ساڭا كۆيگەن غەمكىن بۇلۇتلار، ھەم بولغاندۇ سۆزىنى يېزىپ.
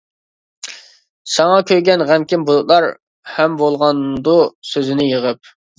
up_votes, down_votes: 0, 2